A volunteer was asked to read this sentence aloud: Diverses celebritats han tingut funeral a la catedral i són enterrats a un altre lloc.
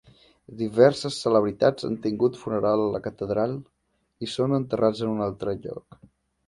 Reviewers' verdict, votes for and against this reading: accepted, 2, 1